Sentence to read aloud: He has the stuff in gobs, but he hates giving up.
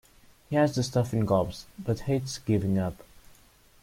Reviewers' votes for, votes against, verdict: 1, 2, rejected